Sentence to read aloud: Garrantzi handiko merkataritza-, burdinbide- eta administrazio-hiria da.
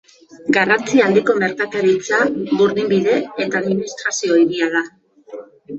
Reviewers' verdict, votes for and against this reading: rejected, 1, 2